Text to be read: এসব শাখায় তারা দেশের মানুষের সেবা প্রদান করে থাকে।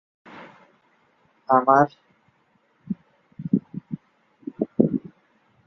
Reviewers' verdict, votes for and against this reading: rejected, 0, 2